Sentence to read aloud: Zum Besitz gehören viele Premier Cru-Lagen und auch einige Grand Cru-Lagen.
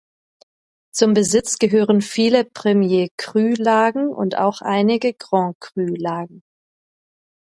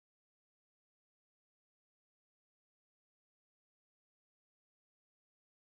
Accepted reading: first